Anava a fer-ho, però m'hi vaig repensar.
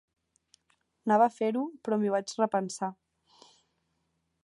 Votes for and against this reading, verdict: 1, 2, rejected